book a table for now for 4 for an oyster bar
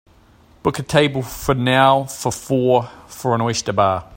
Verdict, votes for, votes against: rejected, 0, 2